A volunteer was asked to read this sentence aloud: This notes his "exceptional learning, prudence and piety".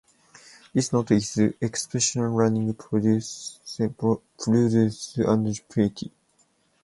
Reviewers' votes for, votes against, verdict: 0, 2, rejected